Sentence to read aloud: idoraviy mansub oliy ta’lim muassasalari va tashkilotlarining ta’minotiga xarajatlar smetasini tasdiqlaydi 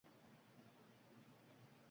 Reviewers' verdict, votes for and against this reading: rejected, 0, 2